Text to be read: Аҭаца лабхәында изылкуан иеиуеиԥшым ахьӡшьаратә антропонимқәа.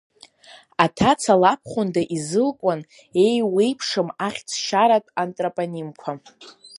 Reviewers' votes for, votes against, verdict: 1, 2, rejected